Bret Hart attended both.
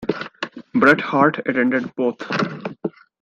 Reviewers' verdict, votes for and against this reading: accepted, 2, 1